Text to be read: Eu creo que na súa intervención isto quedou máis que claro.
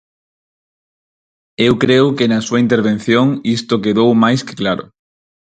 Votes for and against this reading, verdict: 4, 0, accepted